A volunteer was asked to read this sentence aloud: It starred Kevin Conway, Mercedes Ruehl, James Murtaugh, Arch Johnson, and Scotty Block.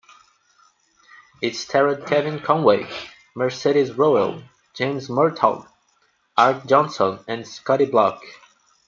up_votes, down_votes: 1, 2